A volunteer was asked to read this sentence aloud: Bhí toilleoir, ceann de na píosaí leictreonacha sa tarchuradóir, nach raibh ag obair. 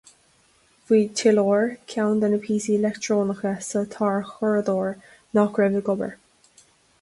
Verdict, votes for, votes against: rejected, 0, 2